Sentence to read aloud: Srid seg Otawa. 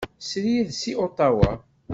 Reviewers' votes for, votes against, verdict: 2, 0, accepted